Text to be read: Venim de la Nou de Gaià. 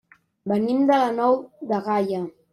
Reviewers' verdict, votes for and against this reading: rejected, 0, 2